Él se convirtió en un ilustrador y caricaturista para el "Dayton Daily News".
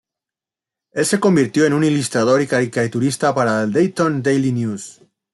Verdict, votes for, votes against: rejected, 1, 2